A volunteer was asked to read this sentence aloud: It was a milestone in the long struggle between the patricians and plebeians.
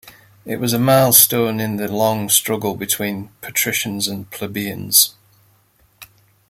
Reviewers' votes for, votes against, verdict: 0, 2, rejected